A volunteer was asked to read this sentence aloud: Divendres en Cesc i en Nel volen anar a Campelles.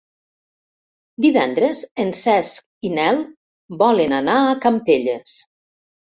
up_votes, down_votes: 0, 3